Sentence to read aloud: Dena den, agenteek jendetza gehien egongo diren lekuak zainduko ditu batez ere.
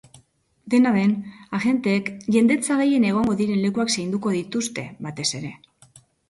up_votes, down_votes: 1, 2